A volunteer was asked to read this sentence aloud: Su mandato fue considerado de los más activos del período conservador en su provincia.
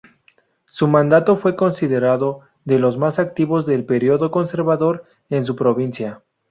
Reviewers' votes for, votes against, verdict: 4, 0, accepted